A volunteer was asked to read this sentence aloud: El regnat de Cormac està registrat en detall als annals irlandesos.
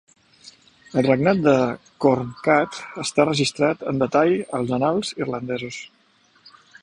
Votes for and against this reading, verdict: 0, 2, rejected